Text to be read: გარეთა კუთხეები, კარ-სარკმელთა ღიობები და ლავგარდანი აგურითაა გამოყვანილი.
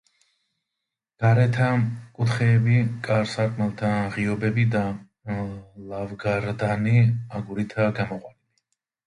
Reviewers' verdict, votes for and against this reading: rejected, 1, 2